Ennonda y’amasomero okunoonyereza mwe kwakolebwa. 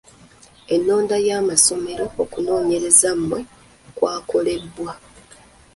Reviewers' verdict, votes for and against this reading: accepted, 2, 1